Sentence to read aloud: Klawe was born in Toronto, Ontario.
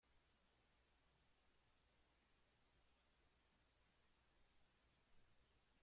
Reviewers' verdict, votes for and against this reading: rejected, 0, 2